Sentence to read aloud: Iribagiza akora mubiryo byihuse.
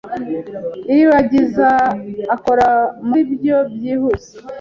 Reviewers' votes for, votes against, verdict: 1, 2, rejected